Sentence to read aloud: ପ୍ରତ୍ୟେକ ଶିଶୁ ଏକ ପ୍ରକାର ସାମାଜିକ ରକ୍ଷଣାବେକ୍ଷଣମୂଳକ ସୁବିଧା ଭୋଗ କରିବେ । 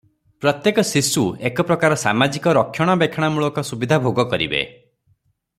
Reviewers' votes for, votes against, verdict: 3, 0, accepted